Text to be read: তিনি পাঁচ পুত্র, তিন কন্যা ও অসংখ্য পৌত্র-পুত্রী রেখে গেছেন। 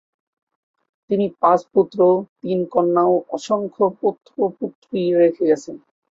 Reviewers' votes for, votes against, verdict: 2, 2, rejected